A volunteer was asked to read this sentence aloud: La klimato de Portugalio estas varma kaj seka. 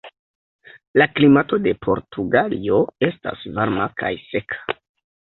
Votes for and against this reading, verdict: 1, 2, rejected